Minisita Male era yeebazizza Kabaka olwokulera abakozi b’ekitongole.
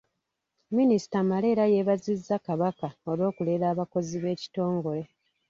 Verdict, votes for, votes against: rejected, 0, 2